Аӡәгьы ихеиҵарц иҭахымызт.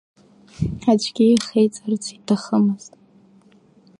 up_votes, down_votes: 2, 0